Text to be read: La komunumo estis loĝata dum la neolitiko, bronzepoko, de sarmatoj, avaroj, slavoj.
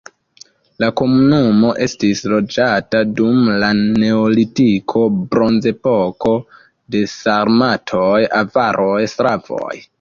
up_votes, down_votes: 0, 2